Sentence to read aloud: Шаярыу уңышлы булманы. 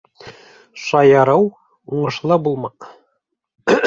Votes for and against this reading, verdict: 2, 3, rejected